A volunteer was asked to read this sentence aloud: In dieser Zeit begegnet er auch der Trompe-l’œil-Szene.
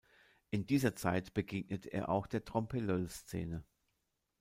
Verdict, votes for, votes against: rejected, 0, 2